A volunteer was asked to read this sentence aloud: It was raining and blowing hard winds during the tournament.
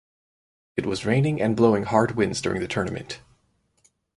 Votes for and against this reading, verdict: 4, 0, accepted